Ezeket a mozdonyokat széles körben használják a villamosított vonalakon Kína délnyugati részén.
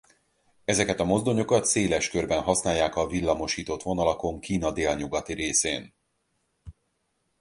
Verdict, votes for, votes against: accepted, 4, 0